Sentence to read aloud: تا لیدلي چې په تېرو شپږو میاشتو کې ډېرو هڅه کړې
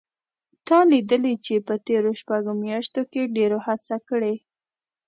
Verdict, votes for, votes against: accepted, 2, 0